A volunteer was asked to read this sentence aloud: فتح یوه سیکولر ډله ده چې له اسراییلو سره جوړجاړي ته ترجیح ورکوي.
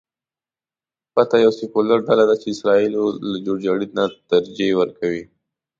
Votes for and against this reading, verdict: 1, 2, rejected